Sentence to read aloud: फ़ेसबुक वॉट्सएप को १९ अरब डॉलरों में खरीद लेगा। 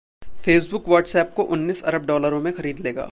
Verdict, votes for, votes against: rejected, 0, 2